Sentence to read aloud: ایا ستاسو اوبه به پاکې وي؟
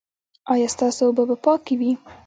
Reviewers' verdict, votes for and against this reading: accepted, 2, 0